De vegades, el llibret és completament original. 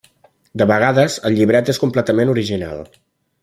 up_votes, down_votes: 3, 0